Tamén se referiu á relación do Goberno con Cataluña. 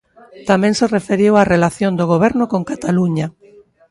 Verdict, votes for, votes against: rejected, 1, 2